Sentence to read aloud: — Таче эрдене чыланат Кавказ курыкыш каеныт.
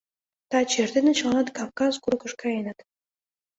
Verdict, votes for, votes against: accepted, 2, 0